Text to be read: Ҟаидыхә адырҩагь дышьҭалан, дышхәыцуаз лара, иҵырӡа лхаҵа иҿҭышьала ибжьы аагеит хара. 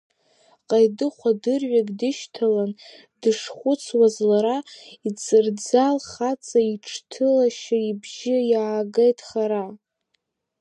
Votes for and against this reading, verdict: 0, 2, rejected